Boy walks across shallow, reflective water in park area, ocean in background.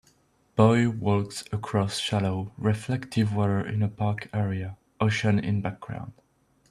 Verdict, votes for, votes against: rejected, 0, 2